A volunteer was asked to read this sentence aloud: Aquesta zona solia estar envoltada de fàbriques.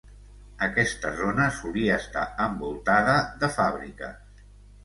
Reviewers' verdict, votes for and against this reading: accepted, 2, 0